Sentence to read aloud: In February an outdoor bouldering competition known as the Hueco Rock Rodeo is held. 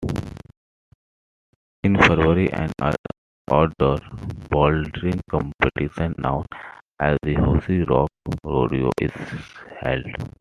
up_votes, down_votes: 0, 2